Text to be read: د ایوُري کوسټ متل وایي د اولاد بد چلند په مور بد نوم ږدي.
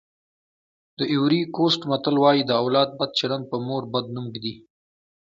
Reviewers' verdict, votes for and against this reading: accepted, 2, 0